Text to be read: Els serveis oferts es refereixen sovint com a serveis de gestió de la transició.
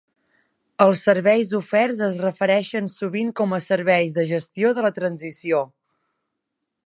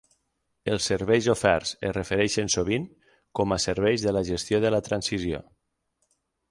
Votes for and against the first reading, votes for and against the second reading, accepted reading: 3, 0, 0, 6, first